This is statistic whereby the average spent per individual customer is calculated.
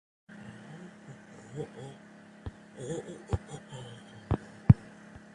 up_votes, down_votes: 0, 2